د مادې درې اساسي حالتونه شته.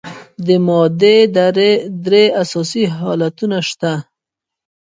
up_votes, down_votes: 0, 2